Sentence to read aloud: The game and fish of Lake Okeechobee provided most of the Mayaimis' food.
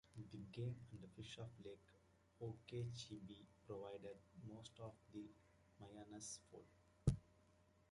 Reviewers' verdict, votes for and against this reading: rejected, 1, 2